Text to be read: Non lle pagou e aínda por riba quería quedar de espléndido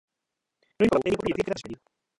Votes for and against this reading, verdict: 0, 2, rejected